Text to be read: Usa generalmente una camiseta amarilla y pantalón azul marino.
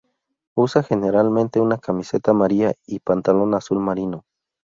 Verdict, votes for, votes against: accepted, 2, 0